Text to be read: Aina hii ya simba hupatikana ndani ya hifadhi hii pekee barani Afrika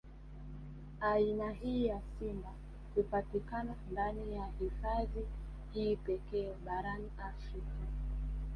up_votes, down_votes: 2, 0